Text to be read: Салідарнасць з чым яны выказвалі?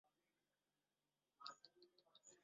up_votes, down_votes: 0, 2